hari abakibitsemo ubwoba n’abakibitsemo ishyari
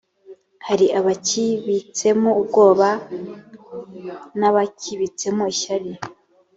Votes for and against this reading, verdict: 2, 0, accepted